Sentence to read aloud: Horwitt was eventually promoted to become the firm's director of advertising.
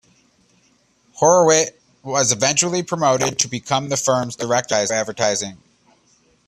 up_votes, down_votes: 2, 1